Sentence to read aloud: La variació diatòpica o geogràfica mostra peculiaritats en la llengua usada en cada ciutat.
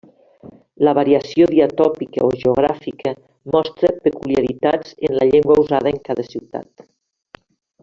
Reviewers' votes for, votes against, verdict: 3, 1, accepted